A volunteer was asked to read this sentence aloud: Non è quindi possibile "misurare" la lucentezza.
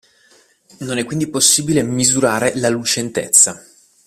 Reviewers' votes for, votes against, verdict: 2, 0, accepted